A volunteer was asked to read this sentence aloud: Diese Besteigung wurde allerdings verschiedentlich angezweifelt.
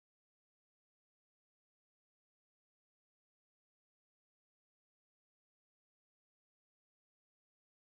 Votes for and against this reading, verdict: 0, 2, rejected